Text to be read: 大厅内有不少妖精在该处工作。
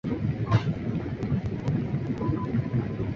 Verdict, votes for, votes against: rejected, 2, 6